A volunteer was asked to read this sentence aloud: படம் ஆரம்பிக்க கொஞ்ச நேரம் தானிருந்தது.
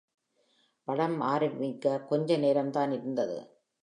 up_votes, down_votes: 2, 0